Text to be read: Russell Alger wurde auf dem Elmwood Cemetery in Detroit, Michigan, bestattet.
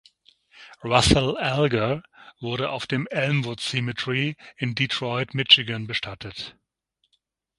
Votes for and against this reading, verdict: 3, 6, rejected